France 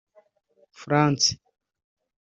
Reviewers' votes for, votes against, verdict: 0, 2, rejected